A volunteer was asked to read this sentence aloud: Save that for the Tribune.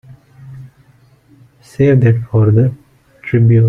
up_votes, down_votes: 0, 2